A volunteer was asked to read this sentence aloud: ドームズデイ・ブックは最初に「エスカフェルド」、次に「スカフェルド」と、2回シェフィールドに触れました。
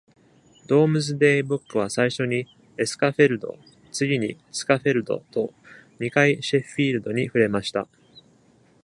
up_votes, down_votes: 0, 2